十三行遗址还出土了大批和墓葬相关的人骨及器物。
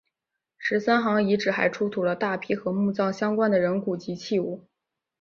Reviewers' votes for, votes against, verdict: 2, 3, rejected